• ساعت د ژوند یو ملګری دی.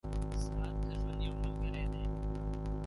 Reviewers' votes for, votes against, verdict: 1, 2, rejected